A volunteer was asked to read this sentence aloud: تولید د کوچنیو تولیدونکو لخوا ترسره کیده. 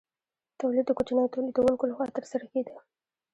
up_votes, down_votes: 2, 0